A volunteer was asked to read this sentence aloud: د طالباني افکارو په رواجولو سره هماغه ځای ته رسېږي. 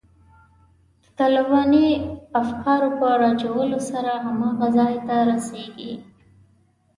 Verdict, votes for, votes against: rejected, 1, 2